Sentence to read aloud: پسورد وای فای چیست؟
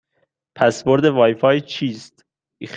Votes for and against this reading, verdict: 1, 2, rejected